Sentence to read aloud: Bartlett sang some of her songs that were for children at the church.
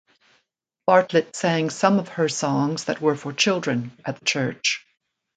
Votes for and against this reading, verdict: 0, 2, rejected